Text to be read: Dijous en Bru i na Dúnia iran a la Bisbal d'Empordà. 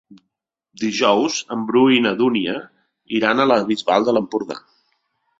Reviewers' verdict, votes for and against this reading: rejected, 1, 2